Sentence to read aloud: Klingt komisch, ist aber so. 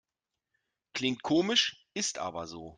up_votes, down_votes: 2, 0